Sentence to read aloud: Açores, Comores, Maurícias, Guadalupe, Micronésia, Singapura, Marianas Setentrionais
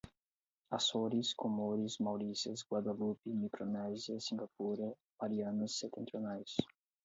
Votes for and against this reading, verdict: 0, 4, rejected